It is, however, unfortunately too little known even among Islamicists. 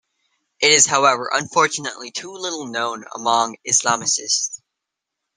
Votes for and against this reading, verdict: 1, 2, rejected